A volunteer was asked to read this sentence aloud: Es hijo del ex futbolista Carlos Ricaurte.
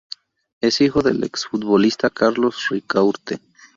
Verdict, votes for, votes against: rejected, 2, 2